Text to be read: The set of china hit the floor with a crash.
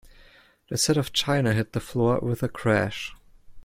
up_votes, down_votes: 2, 0